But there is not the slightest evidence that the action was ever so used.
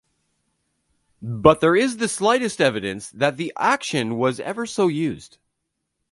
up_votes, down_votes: 1, 2